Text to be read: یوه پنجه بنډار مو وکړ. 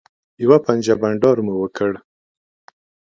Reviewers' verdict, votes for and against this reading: accepted, 2, 0